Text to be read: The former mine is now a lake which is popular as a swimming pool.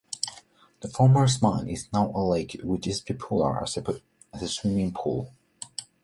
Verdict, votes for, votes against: rejected, 0, 2